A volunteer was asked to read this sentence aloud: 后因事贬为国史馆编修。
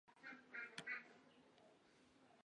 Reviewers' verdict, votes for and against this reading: rejected, 0, 2